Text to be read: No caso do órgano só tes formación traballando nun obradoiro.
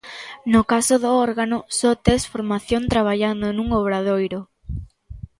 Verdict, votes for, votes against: accepted, 2, 0